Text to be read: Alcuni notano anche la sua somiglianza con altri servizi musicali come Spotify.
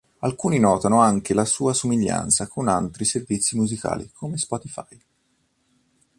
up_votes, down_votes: 2, 0